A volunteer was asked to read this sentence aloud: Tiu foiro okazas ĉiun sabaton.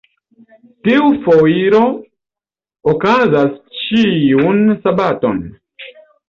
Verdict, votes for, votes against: accepted, 2, 0